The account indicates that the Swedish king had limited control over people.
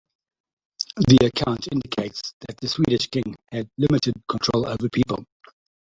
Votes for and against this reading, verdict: 1, 3, rejected